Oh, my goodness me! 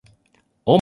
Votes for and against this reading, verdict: 0, 2, rejected